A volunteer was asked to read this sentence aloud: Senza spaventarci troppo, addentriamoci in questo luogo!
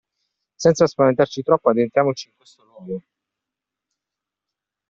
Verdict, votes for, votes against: rejected, 1, 2